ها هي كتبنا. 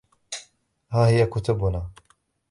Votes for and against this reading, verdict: 3, 0, accepted